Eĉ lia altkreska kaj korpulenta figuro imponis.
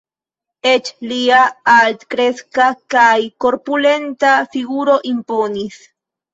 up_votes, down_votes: 2, 0